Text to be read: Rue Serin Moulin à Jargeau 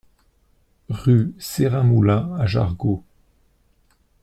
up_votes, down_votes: 2, 0